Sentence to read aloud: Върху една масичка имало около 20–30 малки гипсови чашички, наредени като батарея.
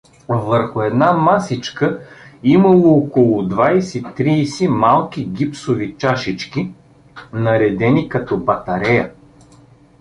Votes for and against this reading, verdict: 0, 2, rejected